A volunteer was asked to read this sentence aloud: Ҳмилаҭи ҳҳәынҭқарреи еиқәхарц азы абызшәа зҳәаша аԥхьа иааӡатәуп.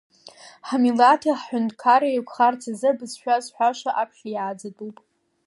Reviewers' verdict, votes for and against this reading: accepted, 2, 0